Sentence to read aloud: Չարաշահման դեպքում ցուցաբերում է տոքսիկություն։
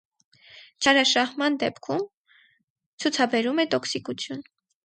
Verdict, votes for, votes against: rejected, 0, 2